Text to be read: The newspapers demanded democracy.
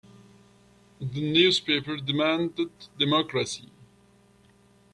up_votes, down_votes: 1, 2